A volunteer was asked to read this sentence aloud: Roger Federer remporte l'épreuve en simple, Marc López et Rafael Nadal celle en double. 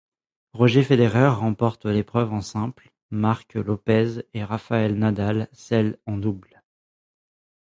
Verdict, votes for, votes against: accepted, 2, 0